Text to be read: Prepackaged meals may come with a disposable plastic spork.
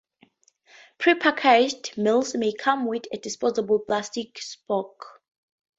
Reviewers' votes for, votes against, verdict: 2, 0, accepted